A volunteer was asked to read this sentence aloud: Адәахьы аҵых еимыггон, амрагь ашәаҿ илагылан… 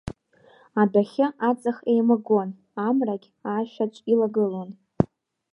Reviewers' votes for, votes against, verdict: 0, 2, rejected